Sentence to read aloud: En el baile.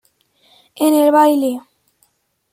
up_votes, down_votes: 0, 2